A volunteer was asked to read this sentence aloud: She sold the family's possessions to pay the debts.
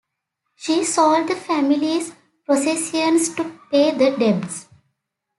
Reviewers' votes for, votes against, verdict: 2, 1, accepted